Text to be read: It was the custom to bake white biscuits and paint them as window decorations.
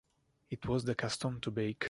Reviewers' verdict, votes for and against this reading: rejected, 0, 2